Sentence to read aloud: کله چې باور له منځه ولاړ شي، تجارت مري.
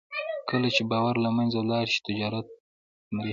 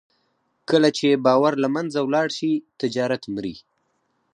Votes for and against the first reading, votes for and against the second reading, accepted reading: 0, 2, 4, 2, second